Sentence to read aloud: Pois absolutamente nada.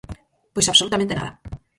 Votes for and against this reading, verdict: 2, 4, rejected